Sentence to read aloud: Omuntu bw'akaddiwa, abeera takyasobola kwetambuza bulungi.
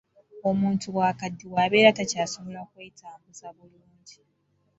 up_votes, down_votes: 2, 0